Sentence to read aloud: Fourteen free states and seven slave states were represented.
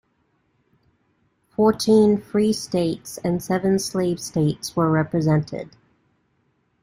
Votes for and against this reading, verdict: 2, 0, accepted